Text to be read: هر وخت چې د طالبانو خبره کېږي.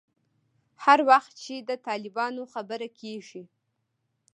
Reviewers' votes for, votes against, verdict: 2, 0, accepted